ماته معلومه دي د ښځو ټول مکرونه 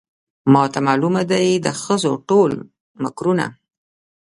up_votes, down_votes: 3, 0